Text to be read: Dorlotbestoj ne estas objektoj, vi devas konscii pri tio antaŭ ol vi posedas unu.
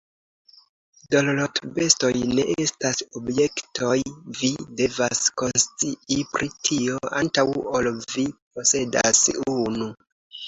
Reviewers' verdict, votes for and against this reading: rejected, 0, 2